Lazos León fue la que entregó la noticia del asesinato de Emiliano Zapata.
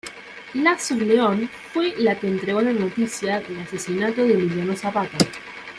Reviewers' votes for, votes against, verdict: 1, 2, rejected